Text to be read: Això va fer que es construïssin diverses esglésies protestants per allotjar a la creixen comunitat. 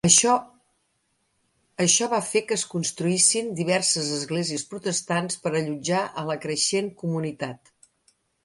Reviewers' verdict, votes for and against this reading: rejected, 0, 3